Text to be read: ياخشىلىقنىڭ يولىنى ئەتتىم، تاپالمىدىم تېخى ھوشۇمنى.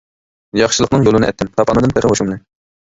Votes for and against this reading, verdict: 0, 2, rejected